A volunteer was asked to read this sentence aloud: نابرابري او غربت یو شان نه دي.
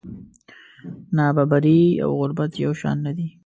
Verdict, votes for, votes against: rejected, 1, 2